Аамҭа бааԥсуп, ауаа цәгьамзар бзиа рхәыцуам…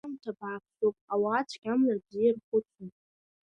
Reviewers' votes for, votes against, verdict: 0, 2, rejected